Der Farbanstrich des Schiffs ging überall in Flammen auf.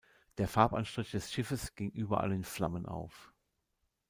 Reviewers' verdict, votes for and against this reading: rejected, 1, 2